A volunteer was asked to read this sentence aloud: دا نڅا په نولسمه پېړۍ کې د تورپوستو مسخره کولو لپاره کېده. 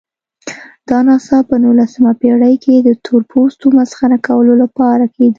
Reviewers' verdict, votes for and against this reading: accepted, 2, 0